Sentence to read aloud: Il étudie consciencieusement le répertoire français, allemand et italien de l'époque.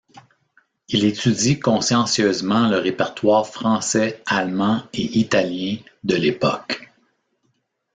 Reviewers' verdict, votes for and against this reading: rejected, 1, 2